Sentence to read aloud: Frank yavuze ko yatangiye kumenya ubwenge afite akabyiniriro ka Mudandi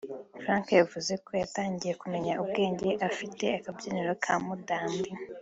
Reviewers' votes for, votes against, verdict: 2, 0, accepted